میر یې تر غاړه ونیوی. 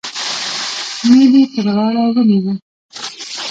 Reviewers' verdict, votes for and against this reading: rejected, 0, 2